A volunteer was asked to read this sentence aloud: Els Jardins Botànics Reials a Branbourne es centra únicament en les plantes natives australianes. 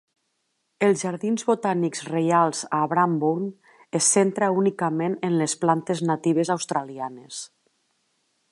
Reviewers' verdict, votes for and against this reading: accepted, 2, 0